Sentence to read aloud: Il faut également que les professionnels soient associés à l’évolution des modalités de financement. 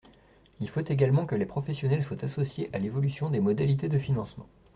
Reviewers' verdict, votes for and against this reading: accepted, 2, 0